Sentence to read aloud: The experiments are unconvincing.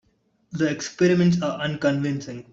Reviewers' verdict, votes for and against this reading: accepted, 2, 1